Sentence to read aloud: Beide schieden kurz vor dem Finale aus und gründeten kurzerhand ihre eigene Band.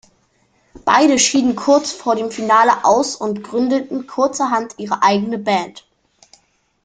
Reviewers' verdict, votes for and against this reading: accepted, 2, 0